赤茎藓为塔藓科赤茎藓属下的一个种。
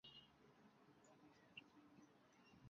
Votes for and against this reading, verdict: 0, 2, rejected